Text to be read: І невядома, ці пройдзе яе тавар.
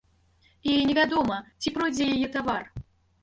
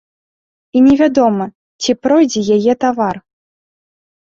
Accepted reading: second